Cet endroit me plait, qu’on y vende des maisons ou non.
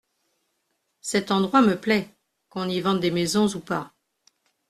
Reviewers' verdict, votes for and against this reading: rejected, 1, 2